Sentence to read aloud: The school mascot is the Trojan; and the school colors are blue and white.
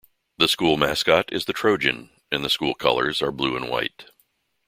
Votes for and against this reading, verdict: 2, 0, accepted